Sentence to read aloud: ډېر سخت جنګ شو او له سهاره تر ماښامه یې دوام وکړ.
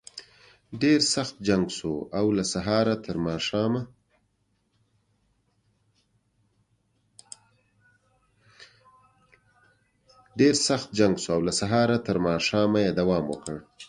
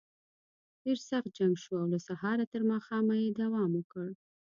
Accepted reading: second